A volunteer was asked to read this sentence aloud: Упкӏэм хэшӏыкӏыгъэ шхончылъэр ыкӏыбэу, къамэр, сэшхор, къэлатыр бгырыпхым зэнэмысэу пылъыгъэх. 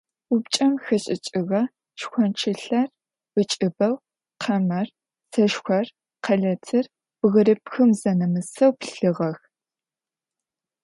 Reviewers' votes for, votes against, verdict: 2, 0, accepted